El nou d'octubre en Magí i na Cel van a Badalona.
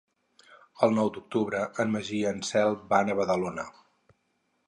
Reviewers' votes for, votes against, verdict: 4, 2, accepted